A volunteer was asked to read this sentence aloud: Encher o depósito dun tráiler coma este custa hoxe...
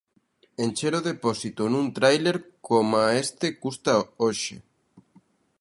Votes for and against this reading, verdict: 0, 2, rejected